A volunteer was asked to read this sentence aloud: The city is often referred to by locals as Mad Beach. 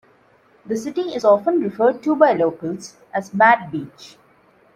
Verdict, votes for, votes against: accepted, 2, 0